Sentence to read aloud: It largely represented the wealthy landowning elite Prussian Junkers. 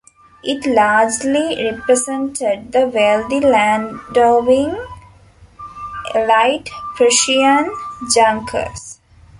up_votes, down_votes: 0, 2